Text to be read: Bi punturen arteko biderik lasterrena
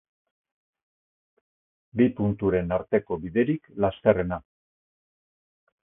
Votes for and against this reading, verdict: 2, 0, accepted